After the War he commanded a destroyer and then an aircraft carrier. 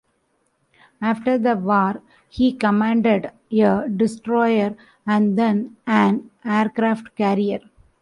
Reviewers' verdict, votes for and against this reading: rejected, 0, 2